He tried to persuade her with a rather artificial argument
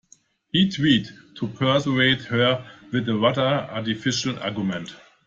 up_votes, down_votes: 0, 2